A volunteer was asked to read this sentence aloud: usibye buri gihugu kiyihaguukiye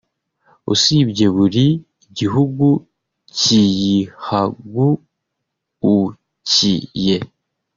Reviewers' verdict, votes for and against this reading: rejected, 1, 2